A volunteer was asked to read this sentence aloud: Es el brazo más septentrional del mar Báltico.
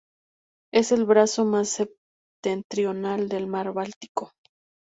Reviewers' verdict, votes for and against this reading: accepted, 2, 0